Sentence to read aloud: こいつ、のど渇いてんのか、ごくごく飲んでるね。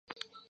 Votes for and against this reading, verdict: 0, 2, rejected